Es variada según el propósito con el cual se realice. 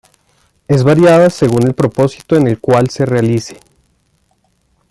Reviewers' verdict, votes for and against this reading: rejected, 0, 2